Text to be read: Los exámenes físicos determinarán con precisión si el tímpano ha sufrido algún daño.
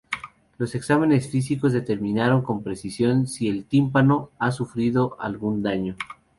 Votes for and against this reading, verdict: 2, 0, accepted